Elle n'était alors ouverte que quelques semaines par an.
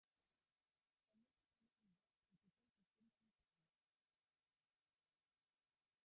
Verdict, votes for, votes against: rejected, 0, 2